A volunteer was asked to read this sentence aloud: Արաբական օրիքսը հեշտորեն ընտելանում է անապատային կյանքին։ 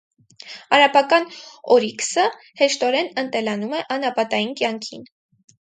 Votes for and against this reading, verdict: 4, 0, accepted